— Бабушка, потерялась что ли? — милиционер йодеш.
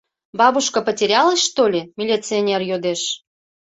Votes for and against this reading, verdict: 2, 0, accepted